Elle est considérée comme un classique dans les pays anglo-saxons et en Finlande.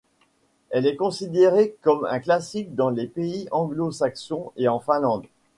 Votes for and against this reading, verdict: 2, 0, accepted